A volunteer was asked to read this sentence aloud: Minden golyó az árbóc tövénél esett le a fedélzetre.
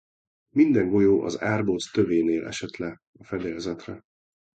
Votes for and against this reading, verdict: 2, 0, accepted